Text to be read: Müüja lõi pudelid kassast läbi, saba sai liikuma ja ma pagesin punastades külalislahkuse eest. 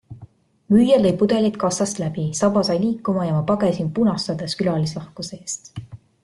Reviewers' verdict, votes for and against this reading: accepted, 3, 0